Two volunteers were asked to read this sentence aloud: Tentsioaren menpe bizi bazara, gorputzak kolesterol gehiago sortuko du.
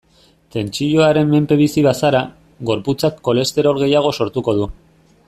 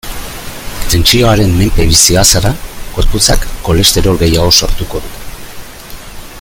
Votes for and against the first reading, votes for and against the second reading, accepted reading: 2, 0, 1, 2, first